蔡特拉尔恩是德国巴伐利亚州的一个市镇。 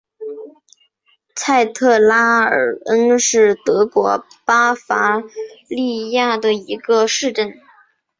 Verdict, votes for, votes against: rejected, 1, 3